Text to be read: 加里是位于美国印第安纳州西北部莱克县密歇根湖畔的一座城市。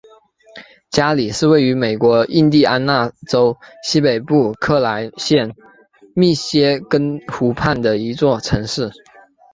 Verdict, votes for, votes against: accepted, 3, 2